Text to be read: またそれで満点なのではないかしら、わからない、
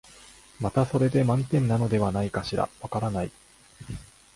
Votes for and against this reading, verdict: 2, 0, accepted